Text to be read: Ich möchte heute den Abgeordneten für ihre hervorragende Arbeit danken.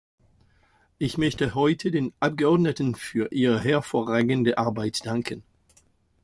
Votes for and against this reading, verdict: 2, 0, accepted